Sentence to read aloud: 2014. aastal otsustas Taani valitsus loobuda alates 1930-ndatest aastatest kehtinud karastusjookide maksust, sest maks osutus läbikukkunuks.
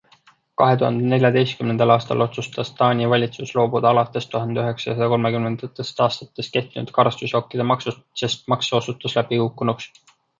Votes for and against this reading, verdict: 0, 2, rejected